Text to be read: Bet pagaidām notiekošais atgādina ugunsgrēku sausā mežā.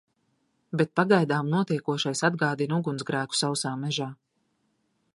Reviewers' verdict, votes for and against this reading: accepted, 2, 0